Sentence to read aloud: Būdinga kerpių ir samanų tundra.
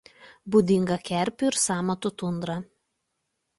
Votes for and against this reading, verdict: 1, 2, rejected